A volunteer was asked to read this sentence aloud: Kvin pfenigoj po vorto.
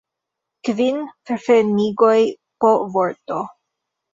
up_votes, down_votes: 0, 2